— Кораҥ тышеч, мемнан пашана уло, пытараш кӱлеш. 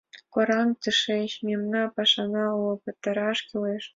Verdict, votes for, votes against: accepted, 3, 2